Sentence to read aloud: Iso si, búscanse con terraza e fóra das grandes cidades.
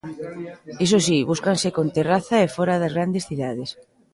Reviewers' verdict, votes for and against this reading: rejected, 0, 2